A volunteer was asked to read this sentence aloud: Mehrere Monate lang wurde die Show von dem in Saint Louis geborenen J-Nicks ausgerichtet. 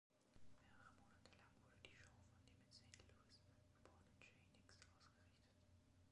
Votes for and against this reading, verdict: 0, 2, rejected